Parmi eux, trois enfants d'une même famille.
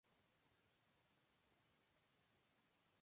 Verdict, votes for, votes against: rejected, 0, 2